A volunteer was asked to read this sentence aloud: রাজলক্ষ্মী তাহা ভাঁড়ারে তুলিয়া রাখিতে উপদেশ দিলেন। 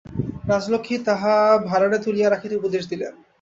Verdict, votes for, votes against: rejected, 0, 2